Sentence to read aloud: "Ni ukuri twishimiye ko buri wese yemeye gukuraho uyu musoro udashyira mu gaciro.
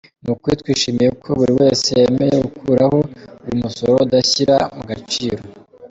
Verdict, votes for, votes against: accepted, 2, 1